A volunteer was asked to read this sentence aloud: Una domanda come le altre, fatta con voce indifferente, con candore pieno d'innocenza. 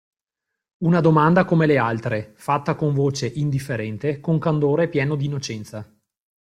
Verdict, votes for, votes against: accepted, 2, 0